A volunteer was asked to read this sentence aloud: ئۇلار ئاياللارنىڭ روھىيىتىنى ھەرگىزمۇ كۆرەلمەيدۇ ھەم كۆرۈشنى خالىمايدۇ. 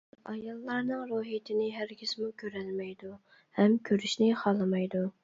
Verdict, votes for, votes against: rejected, 0, 2